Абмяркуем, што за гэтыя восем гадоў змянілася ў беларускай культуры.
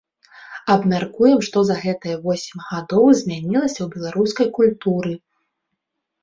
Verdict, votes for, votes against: accepted, 3, 0